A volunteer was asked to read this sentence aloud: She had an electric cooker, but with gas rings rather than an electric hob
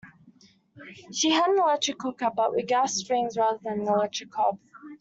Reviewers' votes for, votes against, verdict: 2, 0, accepted